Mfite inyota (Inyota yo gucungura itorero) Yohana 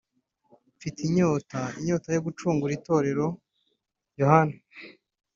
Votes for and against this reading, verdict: 2, 0, accepted